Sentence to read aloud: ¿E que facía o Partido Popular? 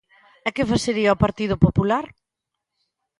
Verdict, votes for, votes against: rejected, 0, 2